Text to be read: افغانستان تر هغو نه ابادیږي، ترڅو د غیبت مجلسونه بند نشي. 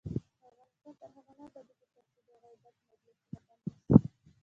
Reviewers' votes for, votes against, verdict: 2, 0, accepted